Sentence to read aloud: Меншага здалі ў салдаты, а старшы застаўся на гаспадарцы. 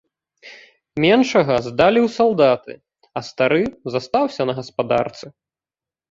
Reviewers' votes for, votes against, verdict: 0, 2, rejected